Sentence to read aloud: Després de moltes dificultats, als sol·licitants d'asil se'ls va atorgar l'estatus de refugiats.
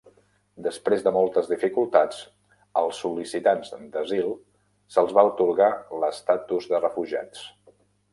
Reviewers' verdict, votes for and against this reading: rejected, 1, 2